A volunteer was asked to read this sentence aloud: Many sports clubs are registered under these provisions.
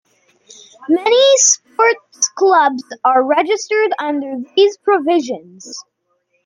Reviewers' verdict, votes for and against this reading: rejected, 1, 2